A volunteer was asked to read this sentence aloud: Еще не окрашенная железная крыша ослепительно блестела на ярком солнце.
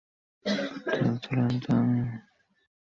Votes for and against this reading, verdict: 0, 2, rejected